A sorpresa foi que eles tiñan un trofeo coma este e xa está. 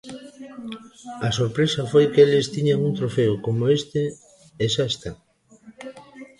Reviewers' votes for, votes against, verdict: 2, 1, accepted